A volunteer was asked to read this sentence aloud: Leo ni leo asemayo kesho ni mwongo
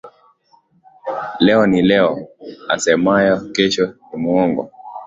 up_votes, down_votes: 2, 1